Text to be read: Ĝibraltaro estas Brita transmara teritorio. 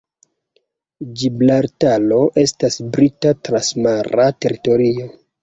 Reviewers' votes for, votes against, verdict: 2, 0, accepted